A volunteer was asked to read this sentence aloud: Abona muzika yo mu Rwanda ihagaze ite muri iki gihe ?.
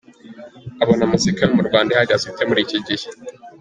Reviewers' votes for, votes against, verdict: 2, 1, accepted